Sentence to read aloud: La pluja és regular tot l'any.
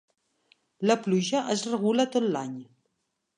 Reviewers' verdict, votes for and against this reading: rejected, 0, 2